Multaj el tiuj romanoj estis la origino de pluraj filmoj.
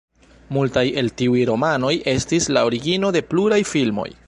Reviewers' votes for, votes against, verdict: 2, 1, accepted